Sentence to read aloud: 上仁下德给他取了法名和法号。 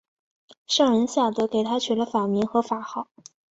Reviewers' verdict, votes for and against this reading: accepted, 3, 0